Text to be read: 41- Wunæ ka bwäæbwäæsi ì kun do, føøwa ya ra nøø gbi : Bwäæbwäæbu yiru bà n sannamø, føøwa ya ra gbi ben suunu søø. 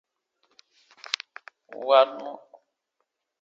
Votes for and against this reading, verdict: 0, 2, rejected